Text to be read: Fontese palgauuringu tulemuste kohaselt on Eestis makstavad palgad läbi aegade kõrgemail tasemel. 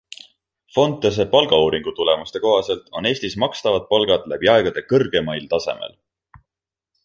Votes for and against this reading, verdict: 2, 0, accepted